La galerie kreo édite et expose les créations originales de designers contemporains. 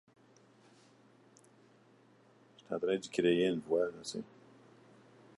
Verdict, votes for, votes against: rejected, 0, 2